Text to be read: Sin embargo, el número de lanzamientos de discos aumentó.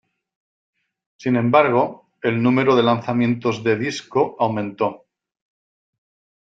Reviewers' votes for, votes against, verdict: 1, 2, rejected